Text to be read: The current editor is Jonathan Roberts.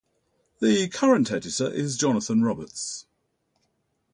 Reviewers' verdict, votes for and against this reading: accepted, 4, 0